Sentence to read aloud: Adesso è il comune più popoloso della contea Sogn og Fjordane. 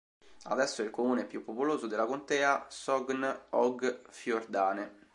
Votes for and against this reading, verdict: 2, 0, accepted